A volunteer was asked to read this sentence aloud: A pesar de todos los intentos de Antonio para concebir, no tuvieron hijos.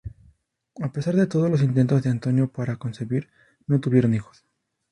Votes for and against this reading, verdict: 2, 2, rejected